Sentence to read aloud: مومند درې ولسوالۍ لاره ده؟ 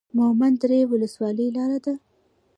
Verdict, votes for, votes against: rejected, 0, 2